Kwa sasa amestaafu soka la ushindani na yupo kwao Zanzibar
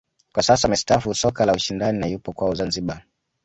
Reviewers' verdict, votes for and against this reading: accepted, 2, 0